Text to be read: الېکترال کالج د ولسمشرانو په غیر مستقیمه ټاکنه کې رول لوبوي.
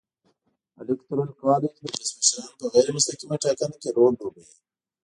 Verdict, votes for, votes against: rejected, 0, 2